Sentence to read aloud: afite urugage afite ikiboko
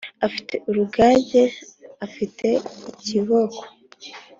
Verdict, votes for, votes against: accepted, 3, 0